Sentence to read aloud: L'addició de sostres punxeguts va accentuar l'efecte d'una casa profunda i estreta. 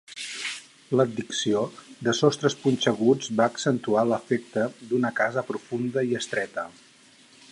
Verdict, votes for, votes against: accepted, 4, 2